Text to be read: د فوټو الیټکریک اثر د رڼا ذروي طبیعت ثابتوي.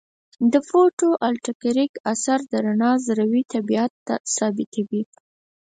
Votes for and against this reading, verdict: 2, 4, rejected